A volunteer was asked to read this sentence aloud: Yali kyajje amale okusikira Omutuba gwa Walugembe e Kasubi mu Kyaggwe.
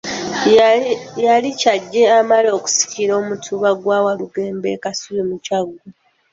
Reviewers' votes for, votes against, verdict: 1, 2, rejected